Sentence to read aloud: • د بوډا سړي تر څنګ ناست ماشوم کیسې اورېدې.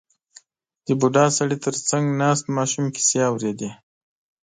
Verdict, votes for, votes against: accepted, 2, 0